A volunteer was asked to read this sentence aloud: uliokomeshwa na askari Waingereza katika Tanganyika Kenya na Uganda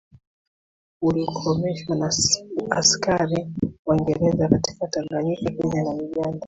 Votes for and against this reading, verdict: 1, 2, rejected